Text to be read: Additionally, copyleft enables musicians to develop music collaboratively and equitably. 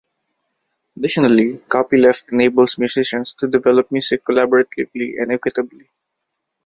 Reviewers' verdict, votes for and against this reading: rejected, 0, 2